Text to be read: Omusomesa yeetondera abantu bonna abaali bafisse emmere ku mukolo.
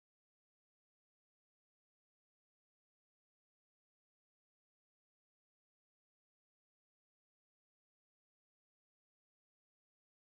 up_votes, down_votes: 0, 2